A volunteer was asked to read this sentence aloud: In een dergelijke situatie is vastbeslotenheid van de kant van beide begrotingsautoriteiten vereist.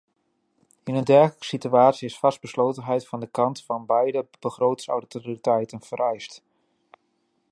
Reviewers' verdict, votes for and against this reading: rejected, 1, 2